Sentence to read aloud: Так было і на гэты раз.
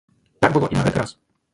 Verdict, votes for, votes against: rejected, 0, 2